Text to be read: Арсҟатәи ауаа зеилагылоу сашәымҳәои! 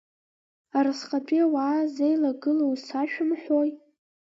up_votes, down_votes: 1, 2